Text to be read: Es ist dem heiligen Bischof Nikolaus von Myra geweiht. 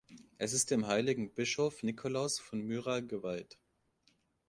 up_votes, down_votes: 2, 0